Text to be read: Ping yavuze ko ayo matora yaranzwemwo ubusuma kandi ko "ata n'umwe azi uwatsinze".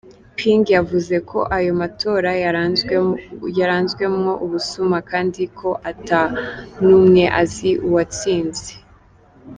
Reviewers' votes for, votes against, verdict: 0, 2, rejected